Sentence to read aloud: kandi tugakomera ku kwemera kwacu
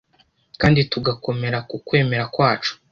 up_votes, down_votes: 2, 0